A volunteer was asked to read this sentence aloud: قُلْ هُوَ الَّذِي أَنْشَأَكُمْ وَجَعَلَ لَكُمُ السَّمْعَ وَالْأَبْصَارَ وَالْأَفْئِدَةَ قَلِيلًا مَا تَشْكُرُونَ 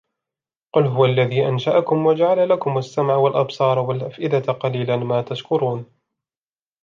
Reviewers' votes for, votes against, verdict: 2, 0, accepted